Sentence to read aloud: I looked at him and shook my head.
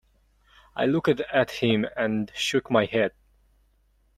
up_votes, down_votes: 0, 2